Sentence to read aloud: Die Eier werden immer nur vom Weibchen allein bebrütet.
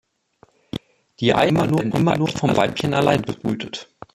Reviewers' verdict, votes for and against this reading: rejected, 0, 2